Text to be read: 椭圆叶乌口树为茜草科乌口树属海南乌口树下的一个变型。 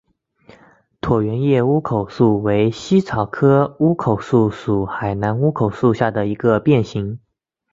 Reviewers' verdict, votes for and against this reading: accepted, 2, 0